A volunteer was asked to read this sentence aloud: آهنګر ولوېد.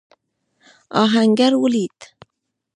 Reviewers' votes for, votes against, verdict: 0, 2, rejected